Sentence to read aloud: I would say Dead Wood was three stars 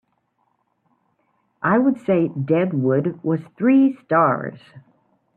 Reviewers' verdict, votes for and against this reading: accepted, 4, 0